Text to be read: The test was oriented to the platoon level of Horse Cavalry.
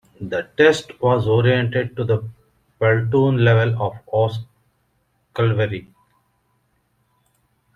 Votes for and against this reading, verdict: 0, 2, rejected